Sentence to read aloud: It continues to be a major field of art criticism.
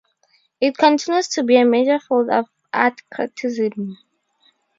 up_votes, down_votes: 0, 4